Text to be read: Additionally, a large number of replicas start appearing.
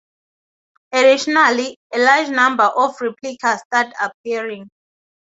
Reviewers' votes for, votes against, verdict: 2, 2, rejected